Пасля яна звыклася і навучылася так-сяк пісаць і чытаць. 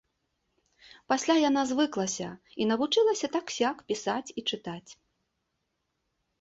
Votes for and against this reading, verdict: 2, 0, accepted